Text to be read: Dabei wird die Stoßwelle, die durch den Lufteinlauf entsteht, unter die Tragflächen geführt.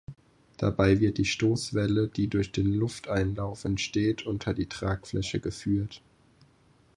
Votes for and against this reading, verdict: 0, 4, rejected